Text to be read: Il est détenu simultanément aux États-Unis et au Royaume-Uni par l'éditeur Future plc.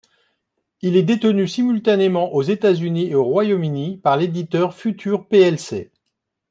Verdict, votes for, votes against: accepted, 2, 0